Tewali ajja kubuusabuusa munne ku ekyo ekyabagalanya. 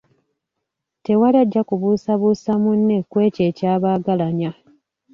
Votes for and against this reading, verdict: 2, 0, accepted